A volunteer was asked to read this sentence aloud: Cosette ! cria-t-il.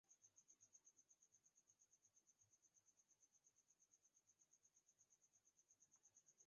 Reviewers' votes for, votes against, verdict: 0, 2, rejected